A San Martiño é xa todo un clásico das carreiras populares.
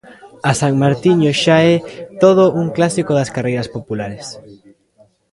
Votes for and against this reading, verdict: 1, 2, rejected